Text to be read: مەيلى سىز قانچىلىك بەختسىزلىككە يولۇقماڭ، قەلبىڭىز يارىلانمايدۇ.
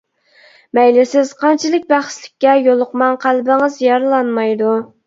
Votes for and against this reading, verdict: 0, 2, rejected